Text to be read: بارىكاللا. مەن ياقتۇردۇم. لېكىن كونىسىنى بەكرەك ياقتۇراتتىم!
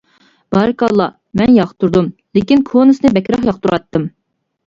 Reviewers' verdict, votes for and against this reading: accepted, 2, 0